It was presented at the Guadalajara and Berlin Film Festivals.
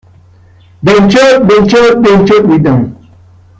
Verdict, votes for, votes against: rejected, 0, 2